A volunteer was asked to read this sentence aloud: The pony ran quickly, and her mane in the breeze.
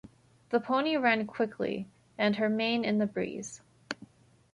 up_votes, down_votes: 2, 0